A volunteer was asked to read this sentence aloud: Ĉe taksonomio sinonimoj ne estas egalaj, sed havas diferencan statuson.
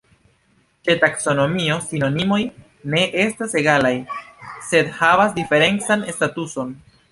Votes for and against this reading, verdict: 2, 0, accepted